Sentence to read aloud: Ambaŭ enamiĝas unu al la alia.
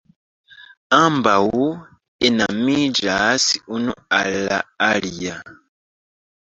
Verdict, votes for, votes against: rejected, 1, 2